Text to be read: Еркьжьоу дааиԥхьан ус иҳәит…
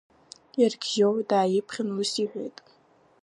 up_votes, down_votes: 1, 2